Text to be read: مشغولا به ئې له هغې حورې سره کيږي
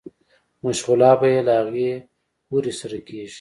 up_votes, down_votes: 2, 0